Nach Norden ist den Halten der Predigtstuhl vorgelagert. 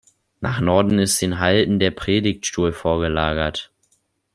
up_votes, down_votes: 2, 0